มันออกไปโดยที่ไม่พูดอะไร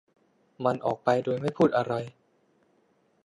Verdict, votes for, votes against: rejected, 1, 2